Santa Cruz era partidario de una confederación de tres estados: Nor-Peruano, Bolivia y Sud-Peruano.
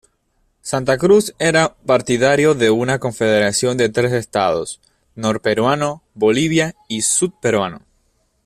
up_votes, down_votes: 2, 0